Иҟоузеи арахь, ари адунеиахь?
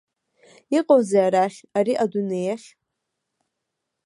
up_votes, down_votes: 2, 0